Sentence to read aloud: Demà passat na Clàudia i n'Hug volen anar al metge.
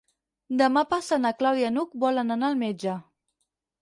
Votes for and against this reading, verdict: 0, 4, rejected